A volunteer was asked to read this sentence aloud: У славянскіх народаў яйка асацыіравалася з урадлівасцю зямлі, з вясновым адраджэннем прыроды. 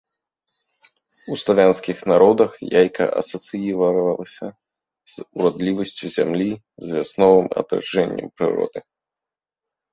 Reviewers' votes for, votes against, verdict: 0, 3, rejected